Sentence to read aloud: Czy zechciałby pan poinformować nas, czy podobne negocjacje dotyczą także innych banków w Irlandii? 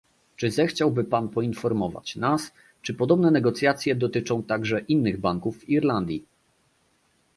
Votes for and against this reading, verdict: 2, 0, accepted